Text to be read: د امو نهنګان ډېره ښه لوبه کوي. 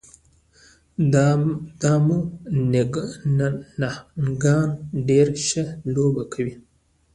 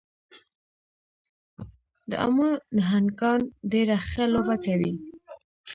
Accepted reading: second